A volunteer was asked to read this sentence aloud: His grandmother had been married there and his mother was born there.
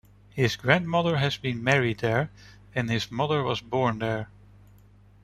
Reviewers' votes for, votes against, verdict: 1, 2, rejected